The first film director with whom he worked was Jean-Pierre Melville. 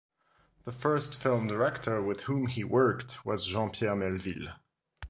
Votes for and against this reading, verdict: 2, 0, accepted